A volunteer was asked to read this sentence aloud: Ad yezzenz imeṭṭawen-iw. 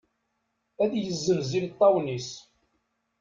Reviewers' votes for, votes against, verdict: 1, 2, rejected